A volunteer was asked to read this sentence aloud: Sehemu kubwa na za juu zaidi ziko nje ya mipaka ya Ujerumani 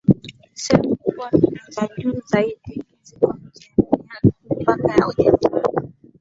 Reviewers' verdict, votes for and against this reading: rejected, 0, 2